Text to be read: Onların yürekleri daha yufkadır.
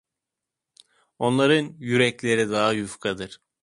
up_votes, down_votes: 2, 0